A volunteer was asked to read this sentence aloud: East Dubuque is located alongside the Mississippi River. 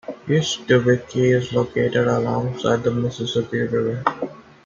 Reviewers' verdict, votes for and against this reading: accepted, 2, 0